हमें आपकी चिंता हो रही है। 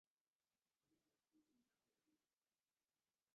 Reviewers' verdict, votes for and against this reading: rejected, 0, 2